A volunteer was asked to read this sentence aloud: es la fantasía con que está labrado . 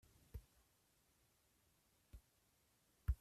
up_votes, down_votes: 0, 3